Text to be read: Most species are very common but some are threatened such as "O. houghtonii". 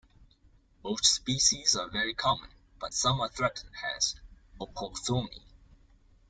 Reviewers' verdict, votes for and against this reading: rejected, 0, 2